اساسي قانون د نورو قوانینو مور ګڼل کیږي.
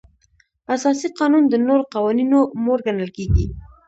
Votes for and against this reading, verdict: 1, 2, rejected